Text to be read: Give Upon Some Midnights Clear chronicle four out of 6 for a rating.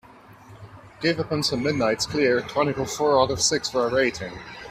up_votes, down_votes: 0, 2